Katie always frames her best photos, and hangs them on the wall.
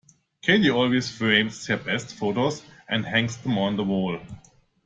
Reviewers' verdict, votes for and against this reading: accepted, 2, 0